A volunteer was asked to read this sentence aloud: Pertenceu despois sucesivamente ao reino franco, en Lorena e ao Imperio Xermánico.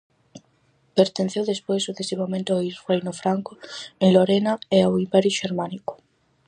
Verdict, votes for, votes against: rejected, 2, 2